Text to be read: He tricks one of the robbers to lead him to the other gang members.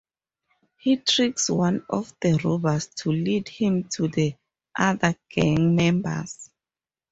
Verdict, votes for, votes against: rejected, 2, 2